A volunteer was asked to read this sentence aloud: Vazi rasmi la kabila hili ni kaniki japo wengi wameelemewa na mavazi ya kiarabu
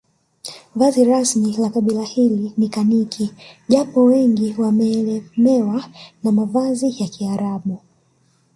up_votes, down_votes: 0, 2